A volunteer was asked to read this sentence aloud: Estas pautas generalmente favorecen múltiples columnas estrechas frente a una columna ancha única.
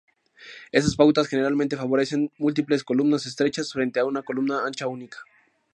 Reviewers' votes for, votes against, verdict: 2, 2, rejected